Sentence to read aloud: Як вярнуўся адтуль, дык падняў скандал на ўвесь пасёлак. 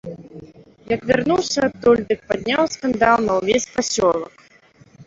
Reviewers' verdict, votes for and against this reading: rejected, 1, 2